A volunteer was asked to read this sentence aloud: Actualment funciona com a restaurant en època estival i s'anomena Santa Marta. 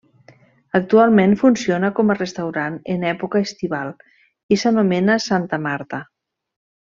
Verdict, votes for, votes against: accepted, 3, 0